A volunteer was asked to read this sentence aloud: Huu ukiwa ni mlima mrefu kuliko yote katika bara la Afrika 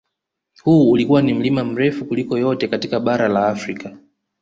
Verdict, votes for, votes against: rejected, 0, 2